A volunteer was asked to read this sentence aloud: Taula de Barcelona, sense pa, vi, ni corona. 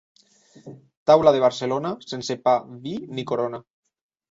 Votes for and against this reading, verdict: 3, 0, accepted